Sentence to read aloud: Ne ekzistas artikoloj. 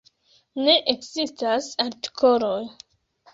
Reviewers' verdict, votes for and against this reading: rejected, 1, 2